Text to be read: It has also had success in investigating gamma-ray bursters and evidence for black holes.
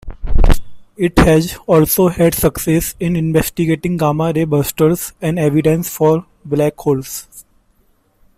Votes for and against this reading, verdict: 2, 0, accepted